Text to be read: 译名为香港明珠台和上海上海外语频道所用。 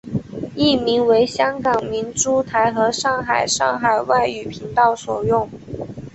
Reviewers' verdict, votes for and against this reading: accepted, 3, 0